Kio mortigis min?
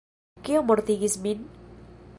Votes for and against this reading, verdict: 2, 0, accepted